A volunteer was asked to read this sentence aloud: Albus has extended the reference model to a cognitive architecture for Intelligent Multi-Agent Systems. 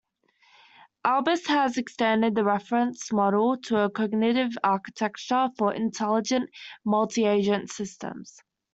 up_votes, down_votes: 2, 0